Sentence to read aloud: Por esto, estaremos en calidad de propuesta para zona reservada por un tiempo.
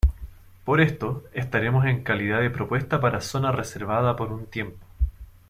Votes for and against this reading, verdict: 2, 0, accepted